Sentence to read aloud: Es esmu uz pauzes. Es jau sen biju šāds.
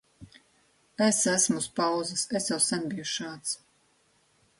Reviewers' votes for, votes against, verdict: 3, 0, accepted